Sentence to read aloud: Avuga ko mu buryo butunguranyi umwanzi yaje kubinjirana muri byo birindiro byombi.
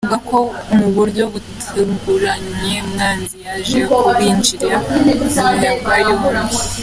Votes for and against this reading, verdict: 1, 2, rejected